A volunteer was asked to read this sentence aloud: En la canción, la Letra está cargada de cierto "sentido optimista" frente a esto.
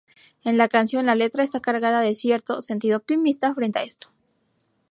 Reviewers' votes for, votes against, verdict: 2, 0, accepted